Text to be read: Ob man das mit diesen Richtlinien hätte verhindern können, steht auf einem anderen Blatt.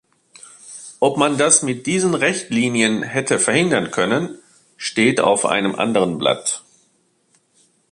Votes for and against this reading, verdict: 0, 2, rejected